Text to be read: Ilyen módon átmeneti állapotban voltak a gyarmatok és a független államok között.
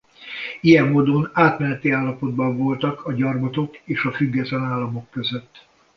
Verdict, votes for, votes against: accepted, 2, 0